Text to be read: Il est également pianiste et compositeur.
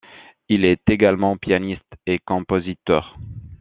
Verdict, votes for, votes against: accepted, 2, 0